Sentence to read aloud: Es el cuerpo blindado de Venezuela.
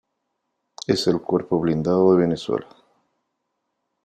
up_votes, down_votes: 2, 0